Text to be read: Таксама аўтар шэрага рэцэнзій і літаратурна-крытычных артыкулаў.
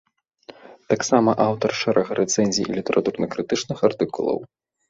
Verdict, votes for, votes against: accepted, 2, 0